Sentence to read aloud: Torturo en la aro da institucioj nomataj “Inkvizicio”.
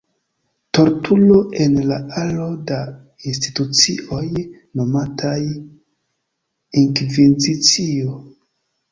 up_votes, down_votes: 2, 0